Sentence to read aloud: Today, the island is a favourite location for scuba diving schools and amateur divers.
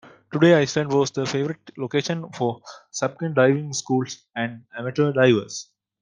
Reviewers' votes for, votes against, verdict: 0, 2, rejected